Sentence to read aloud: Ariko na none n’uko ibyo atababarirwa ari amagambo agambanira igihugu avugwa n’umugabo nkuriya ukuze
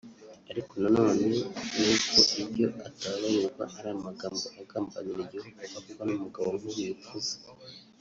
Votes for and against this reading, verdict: 1, 2, rejected